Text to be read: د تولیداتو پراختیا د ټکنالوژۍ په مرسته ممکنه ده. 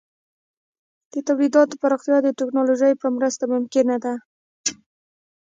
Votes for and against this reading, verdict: 1, 2, rejected